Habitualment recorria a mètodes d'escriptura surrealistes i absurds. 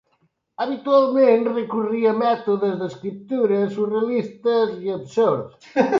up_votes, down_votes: 0, 2